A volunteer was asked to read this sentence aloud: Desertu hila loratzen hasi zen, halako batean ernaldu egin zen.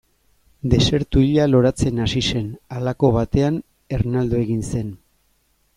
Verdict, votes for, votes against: rejected, 0, 2